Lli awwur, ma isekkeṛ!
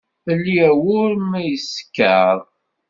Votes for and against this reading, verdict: 1, 2, rejected